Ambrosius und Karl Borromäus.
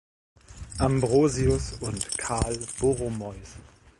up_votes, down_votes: 1, 2